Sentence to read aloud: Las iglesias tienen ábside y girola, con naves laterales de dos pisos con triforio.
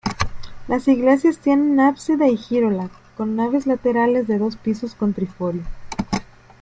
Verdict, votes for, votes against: accepted, 2, 0